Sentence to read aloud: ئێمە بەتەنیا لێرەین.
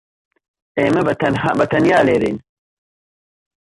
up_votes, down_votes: 0, 2